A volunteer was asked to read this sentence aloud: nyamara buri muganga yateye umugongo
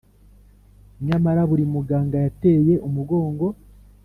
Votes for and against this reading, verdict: 2, 0, accepted